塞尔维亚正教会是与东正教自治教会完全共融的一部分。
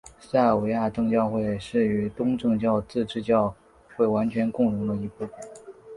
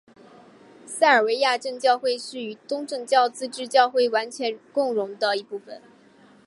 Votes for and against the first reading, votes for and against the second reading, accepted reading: 1, 2, 2, 0, second